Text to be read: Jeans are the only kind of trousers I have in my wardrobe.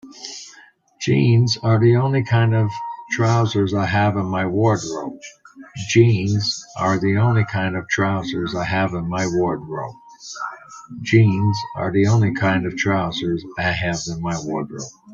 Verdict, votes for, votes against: rejected, 0, 2